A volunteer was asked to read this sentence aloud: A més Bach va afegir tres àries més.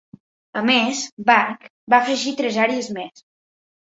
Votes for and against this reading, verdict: 2, 0, accepted